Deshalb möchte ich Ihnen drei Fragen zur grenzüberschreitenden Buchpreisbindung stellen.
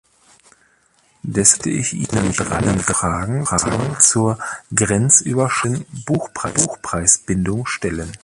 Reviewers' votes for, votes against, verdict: 0, 2, rejected